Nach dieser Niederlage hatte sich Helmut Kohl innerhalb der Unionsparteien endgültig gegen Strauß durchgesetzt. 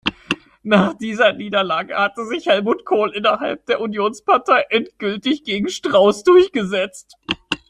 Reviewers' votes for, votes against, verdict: 0, 2, rejected